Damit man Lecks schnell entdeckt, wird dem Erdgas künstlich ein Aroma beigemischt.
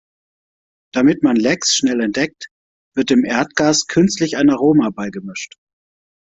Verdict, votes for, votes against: accepted, 2, 0